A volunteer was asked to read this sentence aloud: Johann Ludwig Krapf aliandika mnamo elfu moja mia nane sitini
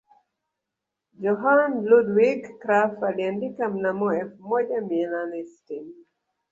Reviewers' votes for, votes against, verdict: 0, 2, rejected